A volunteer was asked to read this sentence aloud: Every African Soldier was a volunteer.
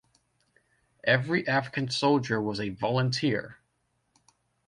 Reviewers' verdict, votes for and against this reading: accepted, 2, 0